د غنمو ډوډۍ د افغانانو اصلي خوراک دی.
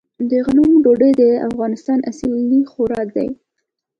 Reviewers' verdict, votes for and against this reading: rejected, 1, 2